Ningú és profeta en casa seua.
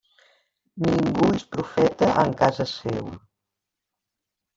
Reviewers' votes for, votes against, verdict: 1, 2, rejected